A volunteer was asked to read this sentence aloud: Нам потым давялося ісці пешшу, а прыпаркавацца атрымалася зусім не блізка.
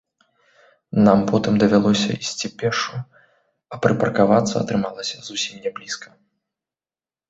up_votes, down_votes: 2, 1